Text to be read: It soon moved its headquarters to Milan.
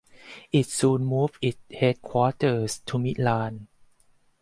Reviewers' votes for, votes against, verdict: 0, 4, rejected